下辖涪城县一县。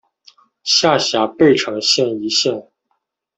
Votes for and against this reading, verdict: 1, 2, rejected